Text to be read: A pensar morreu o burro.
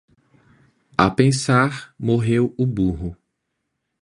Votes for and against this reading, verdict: 1, 2, rejected